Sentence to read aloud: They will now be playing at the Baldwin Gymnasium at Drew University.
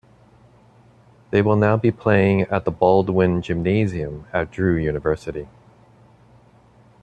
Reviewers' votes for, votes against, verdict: 3, 0, accepted